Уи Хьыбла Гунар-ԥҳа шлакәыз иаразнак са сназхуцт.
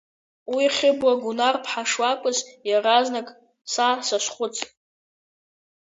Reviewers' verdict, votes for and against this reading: accepted, 2, 0